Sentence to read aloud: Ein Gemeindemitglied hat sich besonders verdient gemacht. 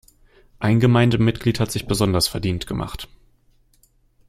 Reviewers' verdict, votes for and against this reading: accepted, 2, 0